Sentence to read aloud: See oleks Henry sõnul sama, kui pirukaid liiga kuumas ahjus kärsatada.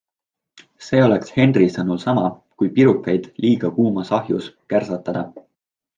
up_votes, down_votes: 2, 0